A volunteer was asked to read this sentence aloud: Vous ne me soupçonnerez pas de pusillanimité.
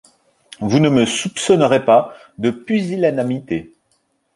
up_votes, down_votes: 1, 2